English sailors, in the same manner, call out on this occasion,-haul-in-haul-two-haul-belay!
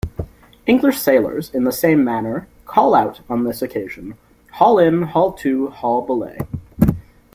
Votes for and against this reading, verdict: 2, 0, accepted